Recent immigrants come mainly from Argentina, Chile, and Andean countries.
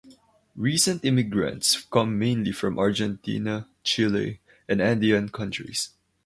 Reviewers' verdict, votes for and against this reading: accepted, 2, 0